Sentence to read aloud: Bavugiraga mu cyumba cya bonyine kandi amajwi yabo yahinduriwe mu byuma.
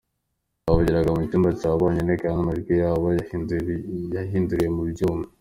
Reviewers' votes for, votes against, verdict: 2, 0, accepted